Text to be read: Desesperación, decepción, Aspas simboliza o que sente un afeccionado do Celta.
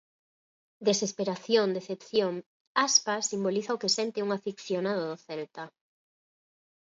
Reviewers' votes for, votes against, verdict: 0, 4, rejected